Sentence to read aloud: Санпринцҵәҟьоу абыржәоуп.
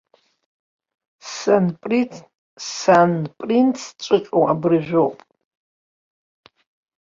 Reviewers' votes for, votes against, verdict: 1, 2, rejected